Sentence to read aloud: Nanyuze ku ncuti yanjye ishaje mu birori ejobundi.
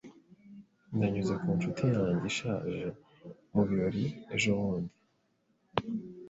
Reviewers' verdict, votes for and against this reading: accepted, 2, 0